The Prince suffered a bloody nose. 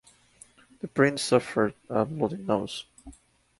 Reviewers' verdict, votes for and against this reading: rejected, 0, 2